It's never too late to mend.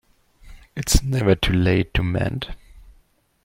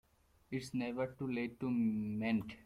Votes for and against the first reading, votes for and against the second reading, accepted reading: 2, 0, 0, 2, first